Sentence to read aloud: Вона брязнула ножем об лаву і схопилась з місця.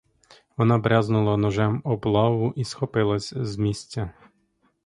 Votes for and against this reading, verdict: 2, 0, accepted